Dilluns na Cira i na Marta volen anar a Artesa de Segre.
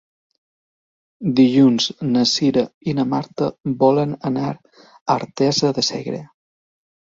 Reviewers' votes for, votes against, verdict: 3, 0, accepted